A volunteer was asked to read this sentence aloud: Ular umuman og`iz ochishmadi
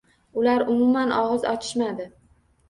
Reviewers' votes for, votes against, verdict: 2, 0, accepted